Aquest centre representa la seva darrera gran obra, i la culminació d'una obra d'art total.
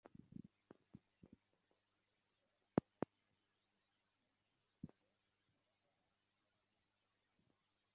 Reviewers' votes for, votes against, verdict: 0, 2, rejected